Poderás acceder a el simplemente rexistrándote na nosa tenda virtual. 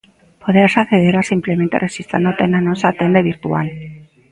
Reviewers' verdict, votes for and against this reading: rejected, 0, 2